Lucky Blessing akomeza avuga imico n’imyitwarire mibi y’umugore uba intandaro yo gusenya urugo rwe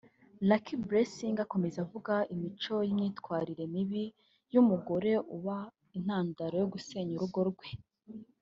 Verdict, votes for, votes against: accepted, 3, 0